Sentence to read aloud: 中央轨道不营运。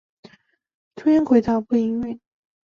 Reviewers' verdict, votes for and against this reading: accepted, 2, 0